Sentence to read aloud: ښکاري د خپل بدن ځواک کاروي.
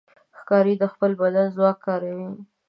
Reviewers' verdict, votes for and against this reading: accepted, 2, 0